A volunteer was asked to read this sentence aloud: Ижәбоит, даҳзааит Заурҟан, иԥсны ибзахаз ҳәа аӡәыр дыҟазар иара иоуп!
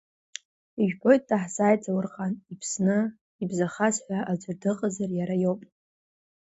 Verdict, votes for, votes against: rejected, 1, 2